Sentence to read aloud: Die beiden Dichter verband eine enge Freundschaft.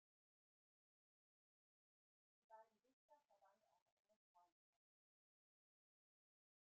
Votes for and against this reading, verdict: 0, 2, rejected